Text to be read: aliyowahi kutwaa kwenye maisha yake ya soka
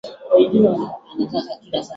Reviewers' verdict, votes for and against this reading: rejected, 0, 2